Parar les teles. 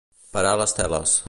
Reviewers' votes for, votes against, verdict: 1, 2, rejected